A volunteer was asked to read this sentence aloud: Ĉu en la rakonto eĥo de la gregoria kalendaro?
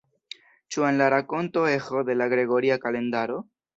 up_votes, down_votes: 0, 2